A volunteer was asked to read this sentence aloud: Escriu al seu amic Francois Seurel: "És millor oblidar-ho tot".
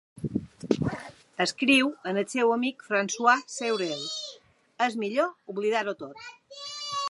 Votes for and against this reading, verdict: 1, 2, rejected